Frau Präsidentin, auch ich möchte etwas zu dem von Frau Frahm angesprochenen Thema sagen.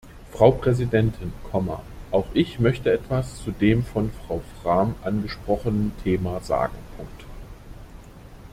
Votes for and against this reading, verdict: 1, 2, rejected